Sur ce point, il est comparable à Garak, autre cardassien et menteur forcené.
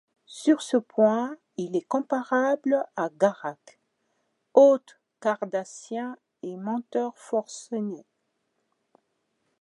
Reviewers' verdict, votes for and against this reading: accepted, 2, 0